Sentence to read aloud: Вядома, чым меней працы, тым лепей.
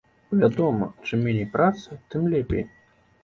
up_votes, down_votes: 2, 0